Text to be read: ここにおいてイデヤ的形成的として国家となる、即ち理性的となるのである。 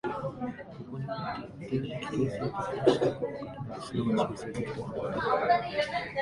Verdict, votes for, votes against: rejected, 0, 2